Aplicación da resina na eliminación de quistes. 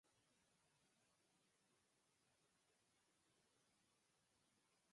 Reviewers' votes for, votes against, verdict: 0, 4, rejected